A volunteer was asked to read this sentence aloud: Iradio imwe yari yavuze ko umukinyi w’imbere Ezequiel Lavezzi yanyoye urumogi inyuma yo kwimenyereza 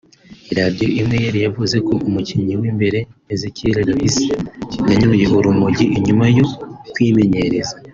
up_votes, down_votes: 2, 0